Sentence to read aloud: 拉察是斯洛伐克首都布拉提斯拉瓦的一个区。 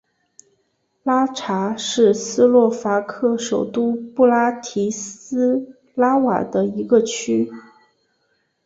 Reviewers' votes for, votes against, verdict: 2, 0, accepted